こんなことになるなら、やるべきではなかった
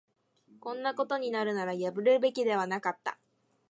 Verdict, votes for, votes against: rejected, 0, 2